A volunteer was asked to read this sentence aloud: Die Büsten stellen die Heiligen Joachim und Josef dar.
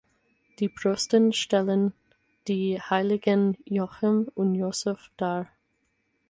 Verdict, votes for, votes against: rejected, 0, 4